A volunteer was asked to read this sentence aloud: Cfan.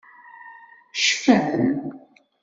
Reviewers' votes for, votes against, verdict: 2, 0, accepted